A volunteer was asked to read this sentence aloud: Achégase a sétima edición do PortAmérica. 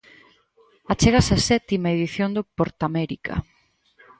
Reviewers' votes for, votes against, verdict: 4, 0, accepted